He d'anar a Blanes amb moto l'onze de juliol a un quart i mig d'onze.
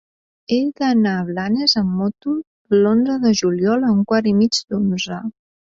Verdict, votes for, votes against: accepted, 2, 0